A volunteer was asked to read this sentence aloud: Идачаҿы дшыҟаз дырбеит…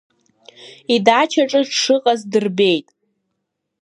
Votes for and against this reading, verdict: 2, 0, accepted